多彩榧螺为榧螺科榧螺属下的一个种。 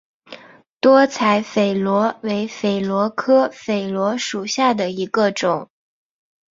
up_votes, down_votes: 4, 0